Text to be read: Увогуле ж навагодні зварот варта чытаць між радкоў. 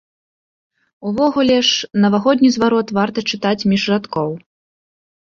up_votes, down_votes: 2, 0